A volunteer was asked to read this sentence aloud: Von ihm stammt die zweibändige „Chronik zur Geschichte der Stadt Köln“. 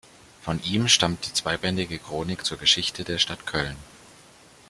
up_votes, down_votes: 2, 0